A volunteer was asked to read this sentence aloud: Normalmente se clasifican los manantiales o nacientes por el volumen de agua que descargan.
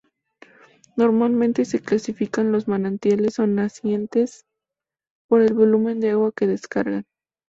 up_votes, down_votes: 2, 0